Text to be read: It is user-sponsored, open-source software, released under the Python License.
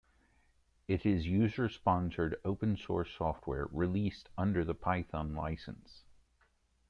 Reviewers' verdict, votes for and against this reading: accepted, 2, 0